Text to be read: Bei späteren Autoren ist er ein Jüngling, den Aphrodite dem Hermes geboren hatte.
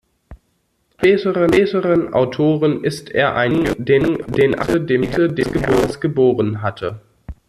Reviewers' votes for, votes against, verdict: 0, 2, rejected